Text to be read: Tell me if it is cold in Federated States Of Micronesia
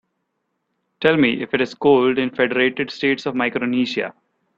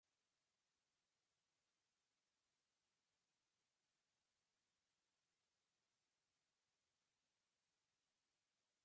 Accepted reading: first